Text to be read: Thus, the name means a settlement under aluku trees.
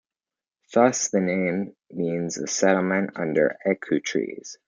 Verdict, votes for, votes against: accepted, 2, 0